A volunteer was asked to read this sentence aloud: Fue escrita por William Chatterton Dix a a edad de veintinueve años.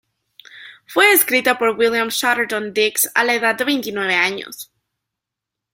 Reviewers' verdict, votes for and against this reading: accepted, 2, 0